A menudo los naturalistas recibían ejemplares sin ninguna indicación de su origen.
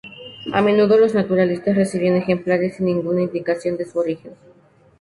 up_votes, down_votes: 2, 2